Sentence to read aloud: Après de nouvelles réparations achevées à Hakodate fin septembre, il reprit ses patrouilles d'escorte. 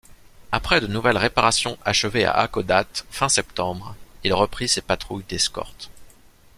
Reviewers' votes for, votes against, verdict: 2, 0, accepted